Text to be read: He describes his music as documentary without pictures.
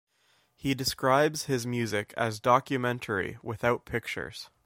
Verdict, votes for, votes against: accepted, 2, 0